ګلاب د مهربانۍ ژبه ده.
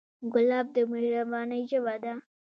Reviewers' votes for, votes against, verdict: 1, 2, rejected